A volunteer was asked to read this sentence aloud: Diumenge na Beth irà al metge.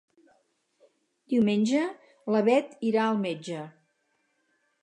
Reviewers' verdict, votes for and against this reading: rejected, 2, 4